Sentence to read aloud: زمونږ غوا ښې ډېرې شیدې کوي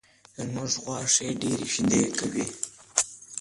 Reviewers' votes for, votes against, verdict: 2, 0, accepted